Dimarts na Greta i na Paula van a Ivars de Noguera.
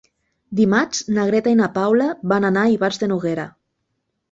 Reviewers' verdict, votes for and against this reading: rejected, 0, 2